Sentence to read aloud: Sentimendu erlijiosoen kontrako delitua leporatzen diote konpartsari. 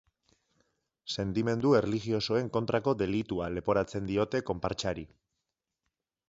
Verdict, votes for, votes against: rejected, 0, 2